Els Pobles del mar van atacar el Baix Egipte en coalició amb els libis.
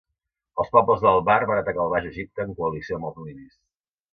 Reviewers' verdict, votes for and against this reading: rejected, 1, 2